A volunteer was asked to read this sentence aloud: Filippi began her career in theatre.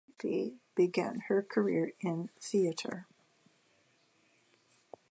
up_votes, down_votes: 0, 2